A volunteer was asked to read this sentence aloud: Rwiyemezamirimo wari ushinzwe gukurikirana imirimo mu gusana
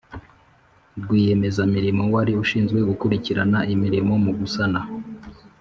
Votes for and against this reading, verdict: 2, 0, accepted